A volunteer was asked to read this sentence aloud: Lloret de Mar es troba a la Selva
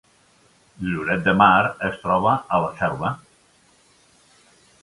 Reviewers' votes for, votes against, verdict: 3, 0, accepted